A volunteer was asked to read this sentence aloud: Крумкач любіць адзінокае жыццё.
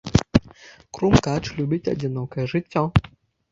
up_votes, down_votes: 1, 2